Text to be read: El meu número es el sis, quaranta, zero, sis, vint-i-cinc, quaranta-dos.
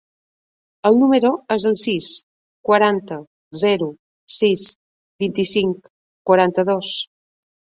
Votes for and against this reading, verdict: 1, 2, rejected